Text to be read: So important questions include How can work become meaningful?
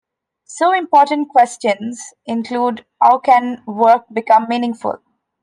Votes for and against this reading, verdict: 2, 0, accepted